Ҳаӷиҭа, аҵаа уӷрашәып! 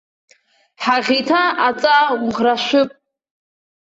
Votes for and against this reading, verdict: 2, 0, accepted